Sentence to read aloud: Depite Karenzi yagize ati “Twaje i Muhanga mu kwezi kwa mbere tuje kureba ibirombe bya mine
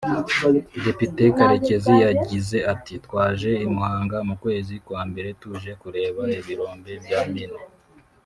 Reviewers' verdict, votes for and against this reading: rejected, 1, 2